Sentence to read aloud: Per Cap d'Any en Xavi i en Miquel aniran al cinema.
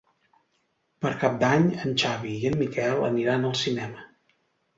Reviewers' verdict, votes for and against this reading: accepted, 2, 0